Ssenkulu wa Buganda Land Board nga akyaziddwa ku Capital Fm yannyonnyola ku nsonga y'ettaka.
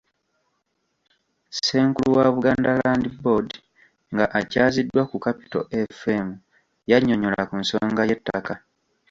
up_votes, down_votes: 1, 2